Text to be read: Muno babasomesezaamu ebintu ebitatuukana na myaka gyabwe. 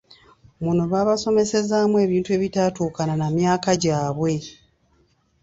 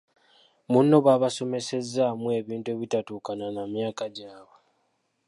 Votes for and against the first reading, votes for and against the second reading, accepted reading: 2, 0, 0, 2, first